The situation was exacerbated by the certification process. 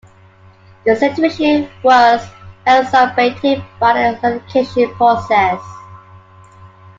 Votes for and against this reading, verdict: 1, 2, rejected